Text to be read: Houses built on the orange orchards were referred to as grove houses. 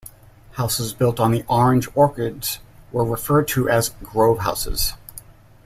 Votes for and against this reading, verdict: 0, 2, rejected